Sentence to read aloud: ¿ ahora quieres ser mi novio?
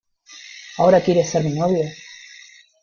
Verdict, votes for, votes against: rejected, 0, 2